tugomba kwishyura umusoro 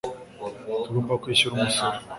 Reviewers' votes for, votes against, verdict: 5, 0, accepted